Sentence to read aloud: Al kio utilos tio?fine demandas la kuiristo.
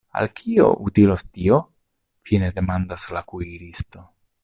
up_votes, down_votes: 2, 0